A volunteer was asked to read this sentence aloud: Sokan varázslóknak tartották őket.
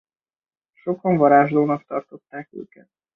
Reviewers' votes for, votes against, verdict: 0, 2, rejected